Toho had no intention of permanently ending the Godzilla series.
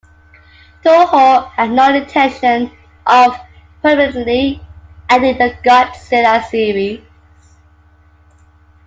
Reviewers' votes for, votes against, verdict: 2, 0, accepted